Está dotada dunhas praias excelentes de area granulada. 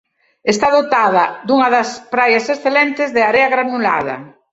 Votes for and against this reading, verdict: 1, 2, rejected